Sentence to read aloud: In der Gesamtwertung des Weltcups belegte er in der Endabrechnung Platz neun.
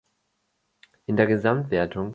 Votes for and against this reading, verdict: 0, 2, rejected